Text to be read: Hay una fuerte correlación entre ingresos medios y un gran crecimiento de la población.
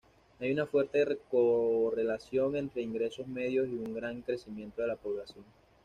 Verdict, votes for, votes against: rejected, 1, 2